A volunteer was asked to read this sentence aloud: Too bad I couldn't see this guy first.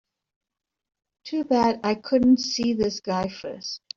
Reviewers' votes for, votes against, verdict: 2, 0, accepted